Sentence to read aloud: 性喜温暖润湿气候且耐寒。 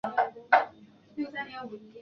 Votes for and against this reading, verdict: 1, 4, rejected